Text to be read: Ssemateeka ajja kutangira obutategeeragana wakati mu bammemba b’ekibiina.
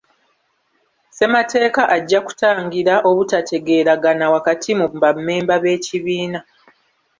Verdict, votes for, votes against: rejected, 1, 2